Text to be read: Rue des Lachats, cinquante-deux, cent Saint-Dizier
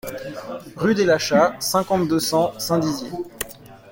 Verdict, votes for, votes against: accepted, 2, 1